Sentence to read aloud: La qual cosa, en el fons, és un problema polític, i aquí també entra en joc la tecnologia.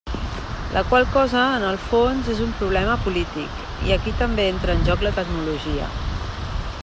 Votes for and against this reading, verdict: 3, 0, accepted